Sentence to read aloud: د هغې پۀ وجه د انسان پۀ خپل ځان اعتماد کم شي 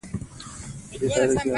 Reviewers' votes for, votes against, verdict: 0, 2, rejected